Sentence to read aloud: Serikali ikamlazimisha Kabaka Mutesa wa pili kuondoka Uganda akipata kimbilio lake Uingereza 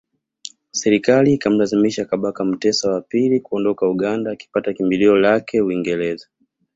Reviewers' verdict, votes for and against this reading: accepted, 2, 0